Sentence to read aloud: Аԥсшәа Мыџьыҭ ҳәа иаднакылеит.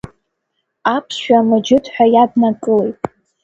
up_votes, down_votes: 2, 0